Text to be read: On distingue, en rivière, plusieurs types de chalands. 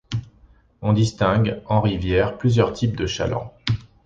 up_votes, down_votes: 2, 0